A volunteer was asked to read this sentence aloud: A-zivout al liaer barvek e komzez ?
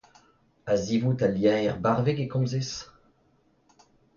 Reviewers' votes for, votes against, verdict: 2, 0, accepted